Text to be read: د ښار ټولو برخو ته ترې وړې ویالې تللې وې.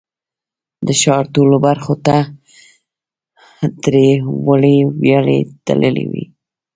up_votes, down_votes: 1, 2